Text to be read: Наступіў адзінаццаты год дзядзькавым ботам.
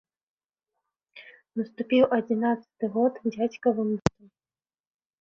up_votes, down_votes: 0, 2